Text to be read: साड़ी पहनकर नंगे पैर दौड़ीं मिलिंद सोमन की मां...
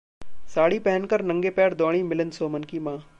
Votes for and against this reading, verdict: 2, 0, accepted